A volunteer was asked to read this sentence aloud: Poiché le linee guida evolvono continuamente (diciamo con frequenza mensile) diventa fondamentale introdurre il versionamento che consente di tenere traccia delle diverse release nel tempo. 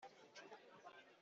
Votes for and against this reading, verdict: 0, 2, rejected